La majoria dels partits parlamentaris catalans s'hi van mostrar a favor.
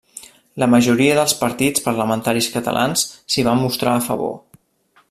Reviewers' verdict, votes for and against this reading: rejected, 1, 2